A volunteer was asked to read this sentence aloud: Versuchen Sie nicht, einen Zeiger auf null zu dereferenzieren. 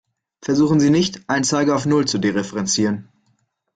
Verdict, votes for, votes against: accepted, 2, 0